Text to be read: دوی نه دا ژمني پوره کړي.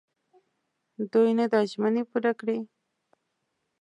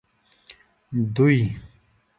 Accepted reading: first